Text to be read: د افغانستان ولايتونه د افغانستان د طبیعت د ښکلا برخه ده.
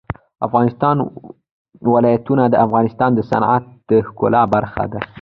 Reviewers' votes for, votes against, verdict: 0, 2, rejected